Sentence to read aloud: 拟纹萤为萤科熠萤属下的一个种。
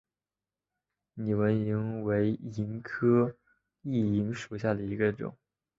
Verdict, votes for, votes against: accepted, 2, 1